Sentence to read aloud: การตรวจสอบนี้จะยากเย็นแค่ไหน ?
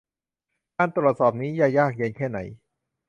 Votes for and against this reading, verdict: 2, 0, accepted